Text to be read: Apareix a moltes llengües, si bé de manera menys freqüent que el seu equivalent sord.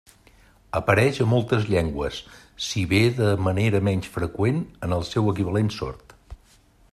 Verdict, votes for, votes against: rejected, 1, 2